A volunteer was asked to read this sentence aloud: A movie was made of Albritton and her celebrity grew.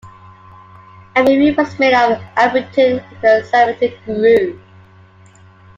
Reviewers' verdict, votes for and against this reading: accepted, 2, 1